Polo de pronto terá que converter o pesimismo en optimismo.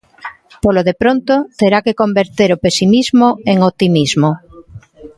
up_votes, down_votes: 2, 0